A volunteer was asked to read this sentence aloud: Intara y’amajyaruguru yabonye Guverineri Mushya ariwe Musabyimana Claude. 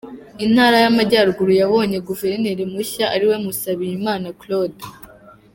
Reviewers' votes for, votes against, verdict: 0, 2, rejected